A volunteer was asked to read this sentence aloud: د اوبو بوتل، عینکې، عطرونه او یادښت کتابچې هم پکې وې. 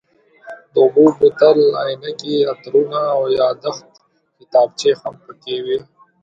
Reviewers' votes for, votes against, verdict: 2, 0, accepted